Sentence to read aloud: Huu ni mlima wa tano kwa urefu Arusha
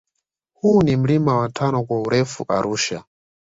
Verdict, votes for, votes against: accepted, 2, 0